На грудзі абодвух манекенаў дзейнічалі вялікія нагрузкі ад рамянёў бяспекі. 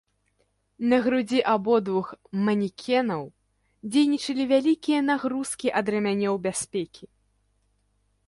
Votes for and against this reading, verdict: 2, 0, accepted